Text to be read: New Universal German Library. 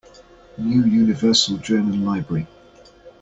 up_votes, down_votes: 2, 0